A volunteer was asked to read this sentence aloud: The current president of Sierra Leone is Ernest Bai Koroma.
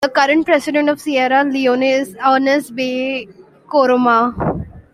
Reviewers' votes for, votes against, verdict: 1, 2, rejected